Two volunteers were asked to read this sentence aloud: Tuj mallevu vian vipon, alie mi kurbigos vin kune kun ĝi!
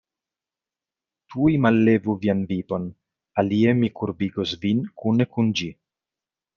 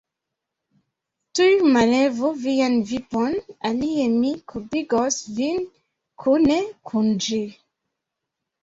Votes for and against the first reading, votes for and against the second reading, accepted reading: 2, 0, 0, 2, first